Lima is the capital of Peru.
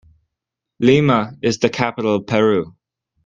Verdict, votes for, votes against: accepted, 2, 0